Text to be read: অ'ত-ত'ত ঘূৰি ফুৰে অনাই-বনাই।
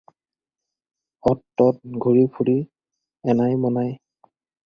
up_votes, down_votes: 2, 4